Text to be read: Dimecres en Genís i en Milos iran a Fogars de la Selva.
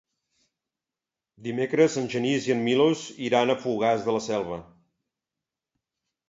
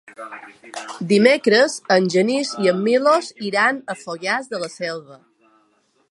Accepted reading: first